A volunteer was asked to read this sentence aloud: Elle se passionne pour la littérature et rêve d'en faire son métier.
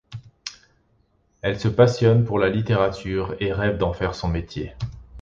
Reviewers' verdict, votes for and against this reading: accepted, 2, 0